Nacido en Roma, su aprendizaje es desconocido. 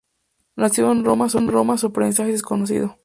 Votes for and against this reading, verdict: 0, 2, rejected